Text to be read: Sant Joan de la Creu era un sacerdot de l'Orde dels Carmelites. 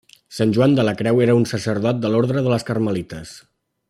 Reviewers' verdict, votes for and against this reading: rejected, 0, 2